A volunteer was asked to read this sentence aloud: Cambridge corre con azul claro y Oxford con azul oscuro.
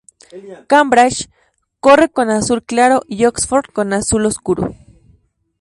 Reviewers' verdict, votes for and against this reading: accepted, 2, 0